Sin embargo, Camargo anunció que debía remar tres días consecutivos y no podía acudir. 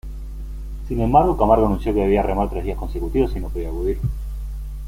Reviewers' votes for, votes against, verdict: 0, 2, rejected